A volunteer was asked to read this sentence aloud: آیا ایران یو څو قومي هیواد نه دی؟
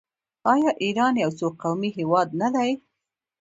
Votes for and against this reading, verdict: 1, 2, rejected